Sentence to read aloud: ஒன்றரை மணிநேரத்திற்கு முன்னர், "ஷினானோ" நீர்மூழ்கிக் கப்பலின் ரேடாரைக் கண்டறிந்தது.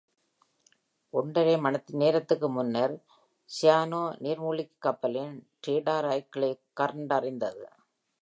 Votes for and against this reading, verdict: 0, 2, rejected